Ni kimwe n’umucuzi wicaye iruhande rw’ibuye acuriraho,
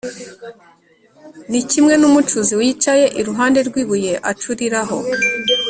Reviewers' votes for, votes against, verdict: 3, 0, accepted